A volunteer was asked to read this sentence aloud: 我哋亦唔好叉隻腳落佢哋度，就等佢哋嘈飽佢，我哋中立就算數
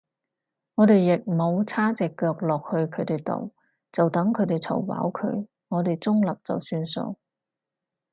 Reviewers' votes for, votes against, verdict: 2, 2, rejected